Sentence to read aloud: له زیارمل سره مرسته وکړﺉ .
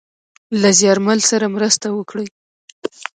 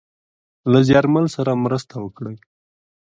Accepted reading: second